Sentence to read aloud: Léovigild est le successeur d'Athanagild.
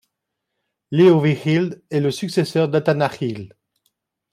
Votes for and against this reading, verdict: 2, 0, accepted